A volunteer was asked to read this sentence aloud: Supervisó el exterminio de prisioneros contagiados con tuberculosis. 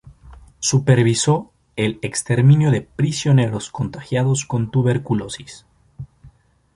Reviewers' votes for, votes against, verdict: 2, 0, accepted